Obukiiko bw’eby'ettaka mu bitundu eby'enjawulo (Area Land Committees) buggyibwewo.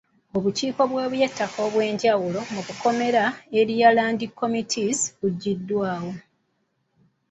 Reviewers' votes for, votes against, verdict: 0, 2, rejected